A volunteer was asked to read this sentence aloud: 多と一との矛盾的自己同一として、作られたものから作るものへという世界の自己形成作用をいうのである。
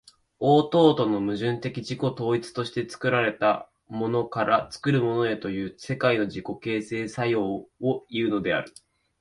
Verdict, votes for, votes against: rejected, 0, 2